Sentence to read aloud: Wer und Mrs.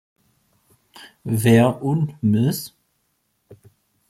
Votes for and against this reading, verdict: 1, 2, rejected